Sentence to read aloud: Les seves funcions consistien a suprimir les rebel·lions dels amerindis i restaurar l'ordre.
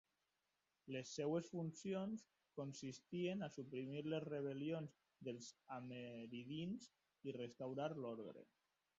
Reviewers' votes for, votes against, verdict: 0, 2, rejected